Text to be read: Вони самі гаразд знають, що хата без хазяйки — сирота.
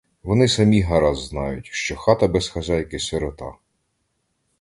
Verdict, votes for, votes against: rejected, 1, 2